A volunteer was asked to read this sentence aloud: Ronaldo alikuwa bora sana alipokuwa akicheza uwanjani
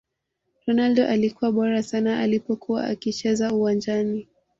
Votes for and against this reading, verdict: 2, 1, accepted